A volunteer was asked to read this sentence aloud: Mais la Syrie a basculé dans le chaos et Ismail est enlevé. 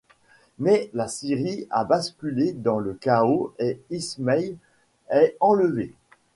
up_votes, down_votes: 2, 0